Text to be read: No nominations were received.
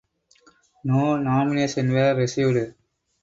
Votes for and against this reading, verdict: 4, 0, accepted